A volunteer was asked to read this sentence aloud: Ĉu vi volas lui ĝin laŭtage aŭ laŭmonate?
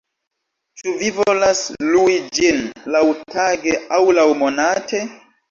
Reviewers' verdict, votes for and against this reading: accepted, 2, 0